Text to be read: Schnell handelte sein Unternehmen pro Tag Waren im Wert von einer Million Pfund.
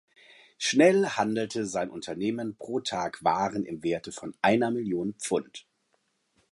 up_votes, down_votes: 1, 2